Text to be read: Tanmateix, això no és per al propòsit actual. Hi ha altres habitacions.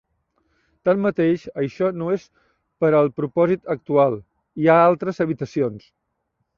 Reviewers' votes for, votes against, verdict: 3, 0, accepted